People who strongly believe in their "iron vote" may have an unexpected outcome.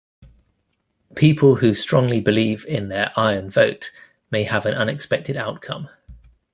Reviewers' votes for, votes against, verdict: 2, 0, accepted